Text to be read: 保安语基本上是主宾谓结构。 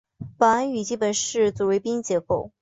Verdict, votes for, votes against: accepted, 4, 2